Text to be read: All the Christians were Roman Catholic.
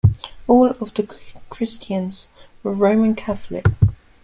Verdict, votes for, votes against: rejected, 1, 2